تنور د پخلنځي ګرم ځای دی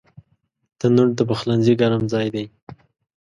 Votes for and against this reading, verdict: 2, 0, accepted